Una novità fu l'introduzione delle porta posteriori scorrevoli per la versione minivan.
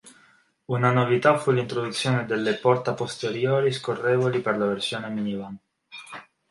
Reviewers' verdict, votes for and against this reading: accepted, 3, 0